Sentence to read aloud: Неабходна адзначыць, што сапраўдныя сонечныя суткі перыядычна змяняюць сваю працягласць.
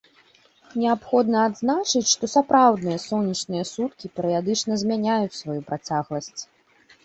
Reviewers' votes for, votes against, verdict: 2, 0, accepted